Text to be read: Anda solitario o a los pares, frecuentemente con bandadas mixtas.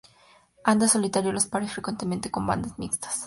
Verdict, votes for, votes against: rejected, 0, 2